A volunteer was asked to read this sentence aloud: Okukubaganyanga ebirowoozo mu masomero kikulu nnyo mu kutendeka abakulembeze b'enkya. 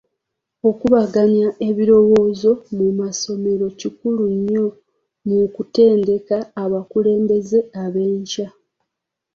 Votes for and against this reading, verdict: 2, 3, rejected